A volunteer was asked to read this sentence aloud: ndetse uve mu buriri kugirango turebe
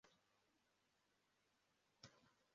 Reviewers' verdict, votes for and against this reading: rejected, 0, 2